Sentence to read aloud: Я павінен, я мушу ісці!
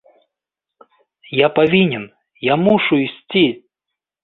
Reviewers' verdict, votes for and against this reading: accepted, 2, 0